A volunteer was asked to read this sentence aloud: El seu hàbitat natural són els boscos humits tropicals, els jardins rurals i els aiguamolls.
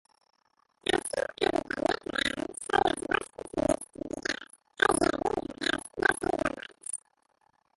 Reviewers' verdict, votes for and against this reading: rejected, 0, 2